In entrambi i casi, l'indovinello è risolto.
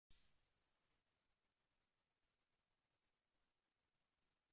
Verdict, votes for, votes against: rejected, 0, 2